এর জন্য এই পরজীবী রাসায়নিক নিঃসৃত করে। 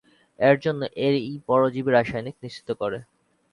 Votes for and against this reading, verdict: 0, 2, rejected